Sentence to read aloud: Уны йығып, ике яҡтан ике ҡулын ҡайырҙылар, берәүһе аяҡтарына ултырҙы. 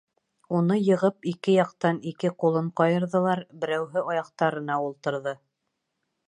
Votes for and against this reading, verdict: 1, 2, rejected